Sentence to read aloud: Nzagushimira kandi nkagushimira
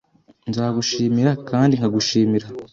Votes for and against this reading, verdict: 2, 0, accepted